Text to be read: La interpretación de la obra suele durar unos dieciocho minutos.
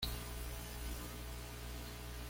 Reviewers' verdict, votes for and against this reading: rejected, 1, 2